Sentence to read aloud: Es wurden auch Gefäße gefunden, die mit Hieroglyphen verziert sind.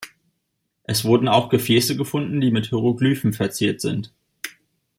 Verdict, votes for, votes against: accepted, 3, 0